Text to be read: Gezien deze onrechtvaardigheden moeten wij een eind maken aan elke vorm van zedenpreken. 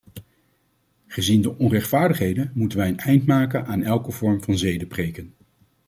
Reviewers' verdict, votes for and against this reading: rejected, 1, 2